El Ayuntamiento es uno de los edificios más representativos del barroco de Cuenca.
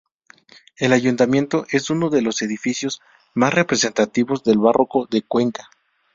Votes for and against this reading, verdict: 0, 2, rejected